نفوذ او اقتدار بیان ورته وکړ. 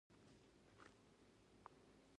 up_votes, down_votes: 1, 2